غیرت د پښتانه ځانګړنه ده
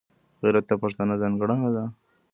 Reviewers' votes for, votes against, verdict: 2, 1, accepted